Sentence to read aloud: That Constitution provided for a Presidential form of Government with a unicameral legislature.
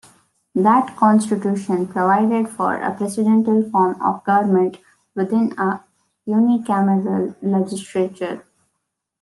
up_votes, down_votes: 0, 2